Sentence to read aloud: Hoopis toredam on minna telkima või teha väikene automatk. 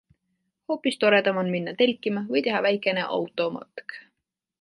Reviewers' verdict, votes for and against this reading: accepted, 2, 0